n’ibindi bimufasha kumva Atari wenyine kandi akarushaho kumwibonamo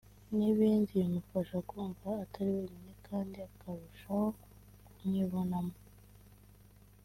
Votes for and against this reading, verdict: 1, 2, rejected